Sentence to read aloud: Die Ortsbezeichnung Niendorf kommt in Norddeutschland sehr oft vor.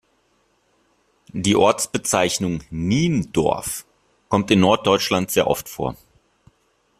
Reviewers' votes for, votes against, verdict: 2, 0, accepted